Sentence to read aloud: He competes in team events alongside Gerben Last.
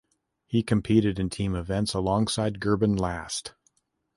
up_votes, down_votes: 0, 2